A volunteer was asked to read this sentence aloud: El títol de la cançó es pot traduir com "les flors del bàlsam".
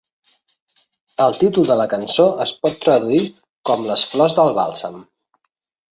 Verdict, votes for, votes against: accepted, 2, 0